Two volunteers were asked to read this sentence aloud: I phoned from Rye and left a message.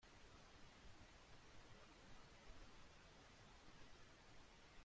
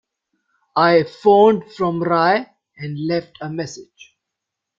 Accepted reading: second